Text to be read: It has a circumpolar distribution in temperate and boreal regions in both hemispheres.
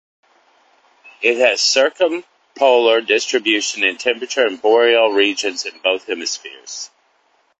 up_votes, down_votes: 0, 2